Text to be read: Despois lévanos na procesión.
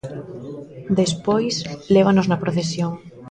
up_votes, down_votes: 2, 0